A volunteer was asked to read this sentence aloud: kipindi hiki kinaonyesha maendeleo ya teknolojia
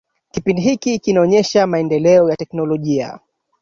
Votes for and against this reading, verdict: 0, 2, rejected